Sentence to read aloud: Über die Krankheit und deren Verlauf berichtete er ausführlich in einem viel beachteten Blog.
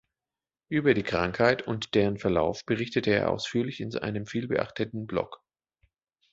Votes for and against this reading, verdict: 1, 2, rejected